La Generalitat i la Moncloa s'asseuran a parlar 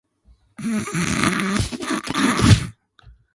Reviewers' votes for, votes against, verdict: 0, 9, rejected